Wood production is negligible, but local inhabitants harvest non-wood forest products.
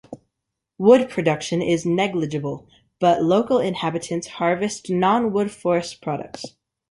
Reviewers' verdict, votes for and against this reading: accepted, 2, 0